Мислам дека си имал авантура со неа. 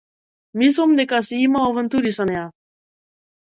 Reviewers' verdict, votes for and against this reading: rejected, 0, 2